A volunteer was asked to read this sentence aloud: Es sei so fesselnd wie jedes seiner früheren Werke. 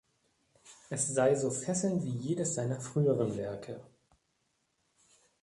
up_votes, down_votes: 2, 0